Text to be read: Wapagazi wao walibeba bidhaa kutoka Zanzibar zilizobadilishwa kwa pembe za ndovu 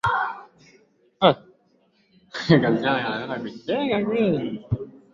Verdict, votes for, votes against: rejected, 0, 3